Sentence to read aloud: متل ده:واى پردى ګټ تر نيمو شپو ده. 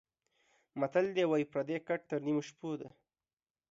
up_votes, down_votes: 2, 0